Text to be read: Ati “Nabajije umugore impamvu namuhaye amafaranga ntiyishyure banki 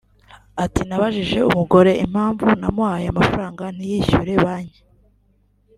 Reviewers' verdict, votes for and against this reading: accepted, 2, 1